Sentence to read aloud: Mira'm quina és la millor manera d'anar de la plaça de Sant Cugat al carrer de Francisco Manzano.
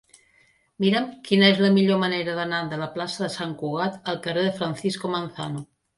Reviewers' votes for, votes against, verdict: 3, 0, accepted